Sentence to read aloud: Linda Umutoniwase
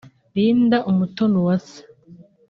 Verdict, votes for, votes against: accepted, 2, 0